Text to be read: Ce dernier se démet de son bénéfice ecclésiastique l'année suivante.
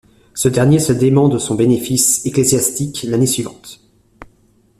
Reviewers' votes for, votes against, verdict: 1, 2, rejected